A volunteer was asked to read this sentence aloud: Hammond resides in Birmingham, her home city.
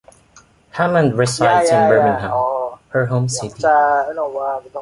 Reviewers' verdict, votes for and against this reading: rejected, 1, 2